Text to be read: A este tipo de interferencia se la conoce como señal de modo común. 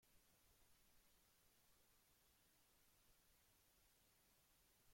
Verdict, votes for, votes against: rejected, 1, 2